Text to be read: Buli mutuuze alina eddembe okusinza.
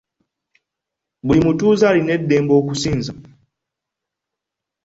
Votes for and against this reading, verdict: 2, 1, accepted